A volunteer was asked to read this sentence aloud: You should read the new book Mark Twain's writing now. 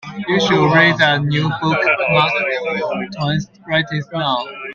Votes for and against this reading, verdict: 0, 2, rejected